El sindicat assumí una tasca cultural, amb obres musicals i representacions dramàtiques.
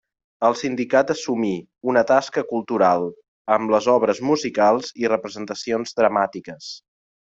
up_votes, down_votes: 0, 2